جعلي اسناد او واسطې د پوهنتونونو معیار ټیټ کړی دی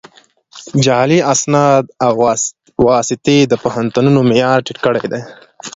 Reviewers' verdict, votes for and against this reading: rejected, 1, 2